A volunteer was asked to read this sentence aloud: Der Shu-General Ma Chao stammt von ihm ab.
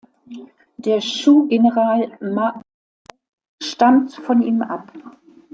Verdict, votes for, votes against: rejected, 0, 2